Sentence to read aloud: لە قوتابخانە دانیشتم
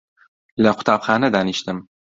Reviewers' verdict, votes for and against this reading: accepted, 2, 0